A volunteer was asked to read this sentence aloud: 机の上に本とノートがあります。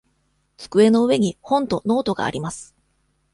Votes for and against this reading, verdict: 2, 0, accepted